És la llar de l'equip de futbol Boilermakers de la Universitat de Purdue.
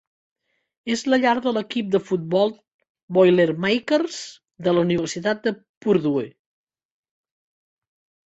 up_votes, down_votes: 2, 0